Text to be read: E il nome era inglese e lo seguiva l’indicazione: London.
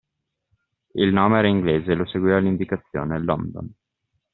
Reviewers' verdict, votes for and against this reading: accepted, 2, 0